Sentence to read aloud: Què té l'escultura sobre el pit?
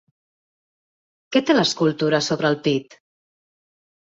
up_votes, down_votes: 4, 0